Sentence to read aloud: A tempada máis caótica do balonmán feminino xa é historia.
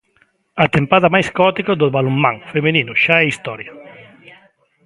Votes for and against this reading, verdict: 0, 2, rejected